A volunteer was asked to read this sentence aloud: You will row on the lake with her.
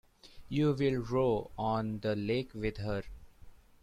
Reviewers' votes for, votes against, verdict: 2, 1, accepted